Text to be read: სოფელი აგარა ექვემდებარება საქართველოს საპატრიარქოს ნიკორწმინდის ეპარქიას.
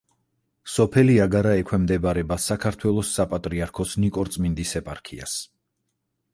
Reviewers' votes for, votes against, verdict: 4, 0, accepted